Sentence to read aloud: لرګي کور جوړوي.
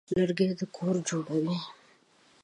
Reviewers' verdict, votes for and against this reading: rejected, 1, 2